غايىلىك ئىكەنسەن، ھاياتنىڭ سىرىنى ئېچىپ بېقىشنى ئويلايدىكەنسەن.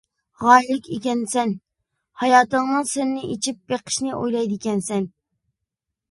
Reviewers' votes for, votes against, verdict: 2, 1, accepted